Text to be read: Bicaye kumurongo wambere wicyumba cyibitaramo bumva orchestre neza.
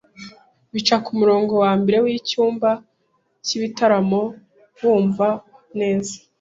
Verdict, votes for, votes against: rejected, 0, 2